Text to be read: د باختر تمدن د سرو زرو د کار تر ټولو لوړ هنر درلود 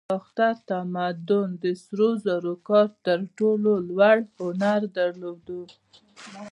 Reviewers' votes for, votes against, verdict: 1, 2, rejected